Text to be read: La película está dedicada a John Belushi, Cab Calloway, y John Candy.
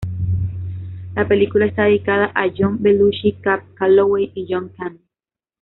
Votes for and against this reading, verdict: 0, 2, rejected